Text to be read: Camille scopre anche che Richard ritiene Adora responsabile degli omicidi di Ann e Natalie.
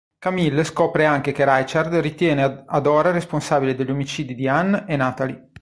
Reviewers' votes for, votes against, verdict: 1, 2, rejected